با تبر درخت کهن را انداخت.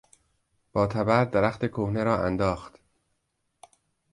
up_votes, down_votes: 0, 2